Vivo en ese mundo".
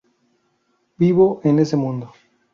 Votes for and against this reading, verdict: 4, 0, accepted